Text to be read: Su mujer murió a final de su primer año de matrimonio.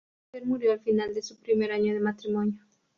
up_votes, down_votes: 0, 2